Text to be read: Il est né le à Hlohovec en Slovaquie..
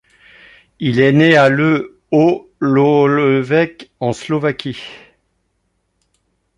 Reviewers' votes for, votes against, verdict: 1, 2, rejected